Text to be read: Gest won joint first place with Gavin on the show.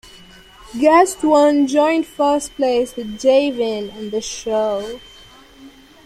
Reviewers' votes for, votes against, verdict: 0, 2, rejected